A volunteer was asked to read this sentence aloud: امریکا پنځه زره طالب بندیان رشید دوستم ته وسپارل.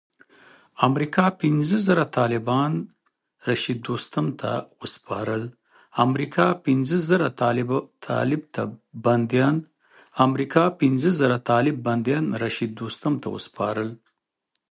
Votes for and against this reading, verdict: 1, 2, rejected